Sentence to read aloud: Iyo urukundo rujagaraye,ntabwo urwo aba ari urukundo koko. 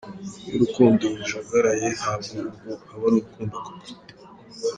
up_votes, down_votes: 2, 1